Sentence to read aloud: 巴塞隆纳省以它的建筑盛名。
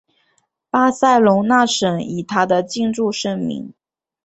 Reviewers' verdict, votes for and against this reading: accepted, 2, 0